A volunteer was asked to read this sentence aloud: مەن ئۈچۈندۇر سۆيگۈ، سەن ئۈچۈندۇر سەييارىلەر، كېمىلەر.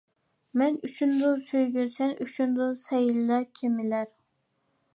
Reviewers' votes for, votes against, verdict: 0, 2, rejected